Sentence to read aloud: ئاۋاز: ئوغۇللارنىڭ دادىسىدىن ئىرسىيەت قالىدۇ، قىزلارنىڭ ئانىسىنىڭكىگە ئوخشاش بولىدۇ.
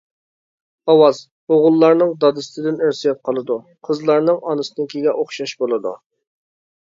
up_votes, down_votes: 2, 0